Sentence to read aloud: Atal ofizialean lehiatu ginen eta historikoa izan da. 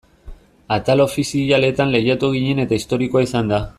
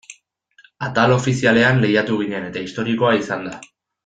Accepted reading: second